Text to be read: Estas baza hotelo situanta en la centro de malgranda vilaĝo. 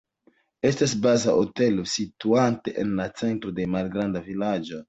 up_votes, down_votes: 2, 1